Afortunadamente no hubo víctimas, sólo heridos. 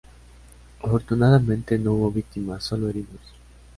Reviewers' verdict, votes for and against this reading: accepted, 2, 0